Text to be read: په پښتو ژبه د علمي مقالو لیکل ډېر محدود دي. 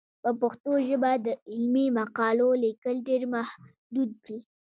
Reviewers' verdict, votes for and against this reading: rejected, 1, 2